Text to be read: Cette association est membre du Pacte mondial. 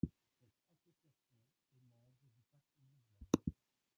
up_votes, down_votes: 0, 2